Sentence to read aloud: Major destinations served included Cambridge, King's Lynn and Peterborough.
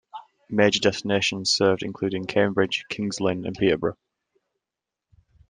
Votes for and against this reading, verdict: 2, 0, accepted